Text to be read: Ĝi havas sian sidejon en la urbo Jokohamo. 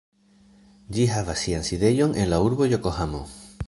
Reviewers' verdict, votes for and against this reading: accepted, 2, 0